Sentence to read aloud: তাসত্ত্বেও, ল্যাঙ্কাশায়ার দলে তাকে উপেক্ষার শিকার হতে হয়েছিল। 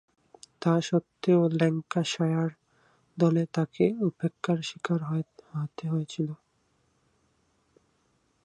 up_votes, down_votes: 0, 4